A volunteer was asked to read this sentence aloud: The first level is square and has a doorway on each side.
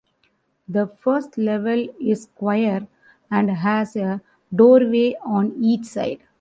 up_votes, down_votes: 0, 2